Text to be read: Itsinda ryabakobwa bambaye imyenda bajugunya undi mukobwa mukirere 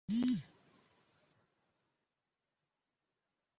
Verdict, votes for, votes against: rejected, 0, 2